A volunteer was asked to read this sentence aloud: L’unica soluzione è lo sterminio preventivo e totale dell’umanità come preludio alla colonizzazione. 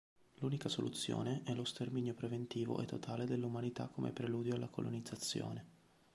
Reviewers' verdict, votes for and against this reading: accepted, 2, 0